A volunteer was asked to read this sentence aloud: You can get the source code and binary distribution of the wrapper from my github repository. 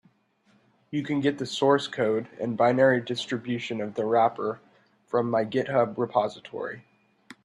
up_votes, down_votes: 2, 0